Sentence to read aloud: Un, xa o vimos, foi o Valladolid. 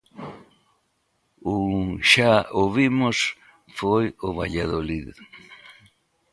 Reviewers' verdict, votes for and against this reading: accepted, 2, 0